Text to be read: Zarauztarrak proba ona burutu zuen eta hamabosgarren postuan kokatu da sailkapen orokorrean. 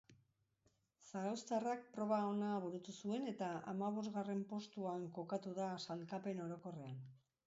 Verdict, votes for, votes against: accepted, 4, 0